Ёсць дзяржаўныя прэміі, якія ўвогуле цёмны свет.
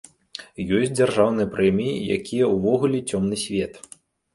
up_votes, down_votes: 2, 0